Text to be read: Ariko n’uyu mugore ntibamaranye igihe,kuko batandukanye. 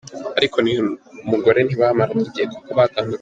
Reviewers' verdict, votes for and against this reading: accepted, 2, 0